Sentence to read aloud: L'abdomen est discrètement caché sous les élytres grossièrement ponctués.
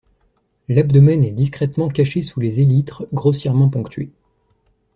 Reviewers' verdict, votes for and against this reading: accepted, 2, 0